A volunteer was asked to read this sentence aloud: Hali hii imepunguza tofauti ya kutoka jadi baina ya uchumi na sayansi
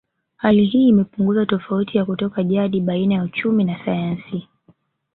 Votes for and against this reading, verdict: 0, 2, rejected